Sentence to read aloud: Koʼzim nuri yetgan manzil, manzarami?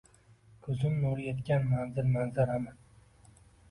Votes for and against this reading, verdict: 2, 1, accepted